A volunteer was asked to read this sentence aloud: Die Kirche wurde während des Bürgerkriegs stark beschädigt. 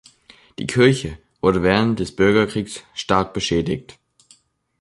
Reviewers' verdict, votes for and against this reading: accepted, 3, 0